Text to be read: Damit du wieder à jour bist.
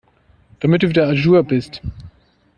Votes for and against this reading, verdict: 2, 0, accepted